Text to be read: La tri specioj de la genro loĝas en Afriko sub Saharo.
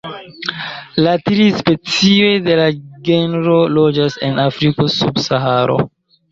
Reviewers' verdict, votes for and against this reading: accepted, 2, 1